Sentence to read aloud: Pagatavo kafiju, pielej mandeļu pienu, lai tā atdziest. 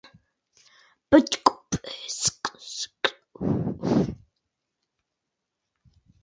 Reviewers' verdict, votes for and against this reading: rejected, 0, 2